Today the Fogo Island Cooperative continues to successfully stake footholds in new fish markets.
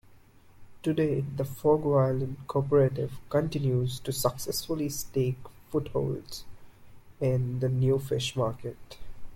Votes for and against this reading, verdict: 0, 2, rejected